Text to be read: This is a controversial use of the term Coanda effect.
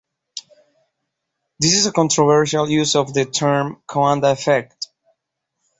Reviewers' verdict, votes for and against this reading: rejected, 1, 2